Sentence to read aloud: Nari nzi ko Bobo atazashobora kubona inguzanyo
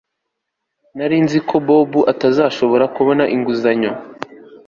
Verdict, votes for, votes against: accepted, 3, 0